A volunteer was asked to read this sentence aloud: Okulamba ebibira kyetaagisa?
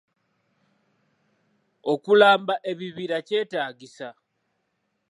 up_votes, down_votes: 0, 2